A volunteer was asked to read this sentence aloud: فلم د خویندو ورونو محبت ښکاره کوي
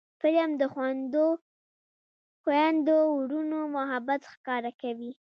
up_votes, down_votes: 1, 2